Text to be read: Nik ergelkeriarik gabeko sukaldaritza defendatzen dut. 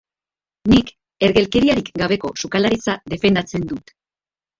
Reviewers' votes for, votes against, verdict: 0, 2, rejected